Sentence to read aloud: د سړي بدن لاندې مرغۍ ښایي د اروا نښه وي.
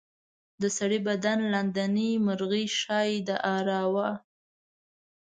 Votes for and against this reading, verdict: 1, 3, rejected